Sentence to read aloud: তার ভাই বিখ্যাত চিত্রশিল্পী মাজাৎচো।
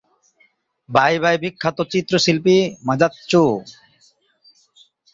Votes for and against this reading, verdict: 0, 2, rejected